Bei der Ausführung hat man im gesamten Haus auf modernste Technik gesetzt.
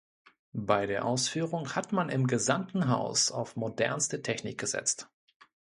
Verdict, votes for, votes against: accepted, 2, 0